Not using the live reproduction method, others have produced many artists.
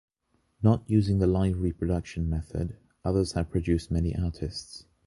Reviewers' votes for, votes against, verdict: 2, 1, accepted